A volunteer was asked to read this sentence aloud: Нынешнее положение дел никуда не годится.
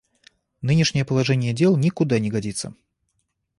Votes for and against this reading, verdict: 1, 2, rejected